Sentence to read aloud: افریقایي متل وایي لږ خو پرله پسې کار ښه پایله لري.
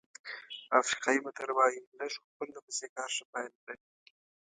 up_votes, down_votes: 1, 2